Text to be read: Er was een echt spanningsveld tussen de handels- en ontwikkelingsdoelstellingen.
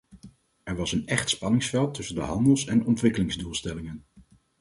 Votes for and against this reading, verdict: 4, 0, accepted